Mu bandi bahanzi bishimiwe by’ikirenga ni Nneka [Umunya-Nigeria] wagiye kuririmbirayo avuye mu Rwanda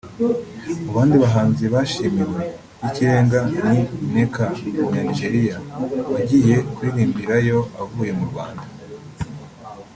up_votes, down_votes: 2, 3